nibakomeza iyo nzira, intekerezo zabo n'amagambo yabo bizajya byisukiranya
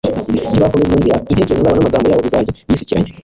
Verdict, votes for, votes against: rejected, 1, 2